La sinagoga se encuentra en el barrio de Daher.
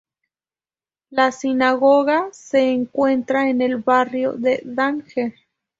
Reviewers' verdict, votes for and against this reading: accepted, 2, 0